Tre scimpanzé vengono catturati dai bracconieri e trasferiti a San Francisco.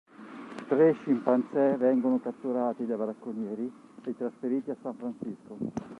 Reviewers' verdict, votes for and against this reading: rejected, 0, 2